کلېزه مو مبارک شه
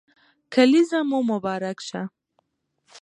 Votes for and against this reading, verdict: 2, 0, accepted